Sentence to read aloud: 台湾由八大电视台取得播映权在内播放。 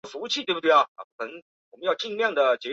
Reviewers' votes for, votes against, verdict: 0, 3, rejected